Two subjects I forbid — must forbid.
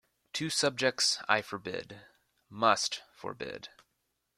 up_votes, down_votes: 2, 0